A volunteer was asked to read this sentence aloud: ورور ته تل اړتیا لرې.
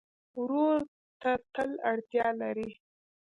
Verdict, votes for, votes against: accepted, 2, 1